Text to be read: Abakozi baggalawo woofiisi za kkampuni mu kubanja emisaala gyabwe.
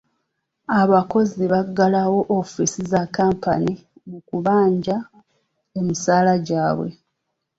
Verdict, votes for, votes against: accepted, 2, 1